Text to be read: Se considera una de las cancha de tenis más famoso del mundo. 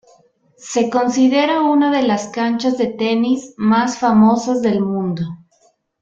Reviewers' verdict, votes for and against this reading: rejected, 0, 2